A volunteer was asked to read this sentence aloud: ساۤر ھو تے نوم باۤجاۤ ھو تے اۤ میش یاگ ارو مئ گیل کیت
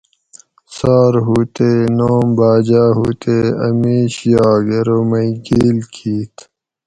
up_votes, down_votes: 4, 0